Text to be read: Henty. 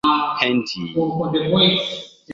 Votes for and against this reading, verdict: 2, 1, accepted